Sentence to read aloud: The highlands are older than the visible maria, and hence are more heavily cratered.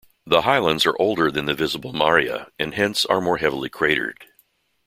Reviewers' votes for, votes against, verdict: 2, 0, accepted